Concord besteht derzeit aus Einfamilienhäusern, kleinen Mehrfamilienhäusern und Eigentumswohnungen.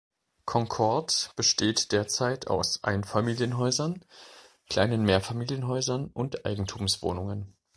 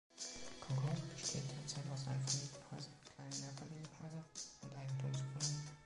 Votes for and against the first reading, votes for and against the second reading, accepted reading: 2, 0, 0, 2, first